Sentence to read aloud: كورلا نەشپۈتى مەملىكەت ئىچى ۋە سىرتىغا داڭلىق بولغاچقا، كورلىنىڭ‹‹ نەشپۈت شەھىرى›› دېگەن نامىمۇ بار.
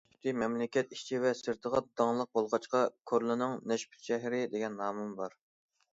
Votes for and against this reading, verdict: 0, 2, rejected